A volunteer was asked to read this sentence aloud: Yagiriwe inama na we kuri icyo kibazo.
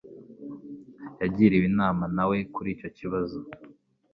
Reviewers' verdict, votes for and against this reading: accepted, 2, 0